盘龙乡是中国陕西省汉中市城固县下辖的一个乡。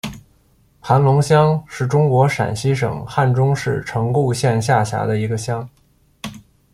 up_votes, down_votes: 2, 0